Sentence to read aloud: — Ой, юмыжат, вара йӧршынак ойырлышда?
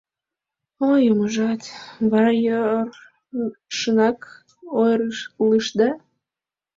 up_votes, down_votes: 0, 2